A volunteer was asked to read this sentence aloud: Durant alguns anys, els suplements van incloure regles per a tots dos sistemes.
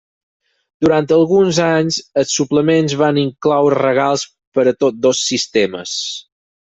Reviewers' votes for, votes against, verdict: 0, 4, rejected